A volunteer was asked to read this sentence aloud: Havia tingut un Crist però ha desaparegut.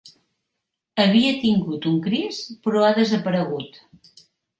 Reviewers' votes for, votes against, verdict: 2, 0, accepted